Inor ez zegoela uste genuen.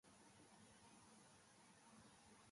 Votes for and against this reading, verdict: 0, 2, rejected